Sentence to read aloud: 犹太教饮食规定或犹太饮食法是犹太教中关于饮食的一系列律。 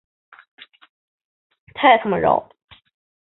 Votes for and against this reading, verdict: 0, 2, rejected